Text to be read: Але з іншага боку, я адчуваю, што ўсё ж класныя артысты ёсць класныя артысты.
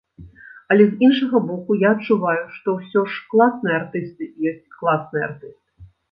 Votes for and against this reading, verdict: 0, 2, rejected